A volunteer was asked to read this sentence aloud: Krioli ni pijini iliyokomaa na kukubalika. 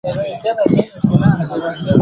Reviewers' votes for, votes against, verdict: 0, 2, rejected